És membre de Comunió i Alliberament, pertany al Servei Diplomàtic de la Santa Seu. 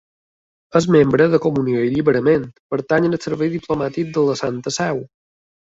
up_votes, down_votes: 3, 2